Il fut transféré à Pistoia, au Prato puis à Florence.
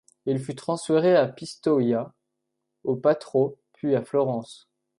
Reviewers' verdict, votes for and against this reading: rejected, 0, 2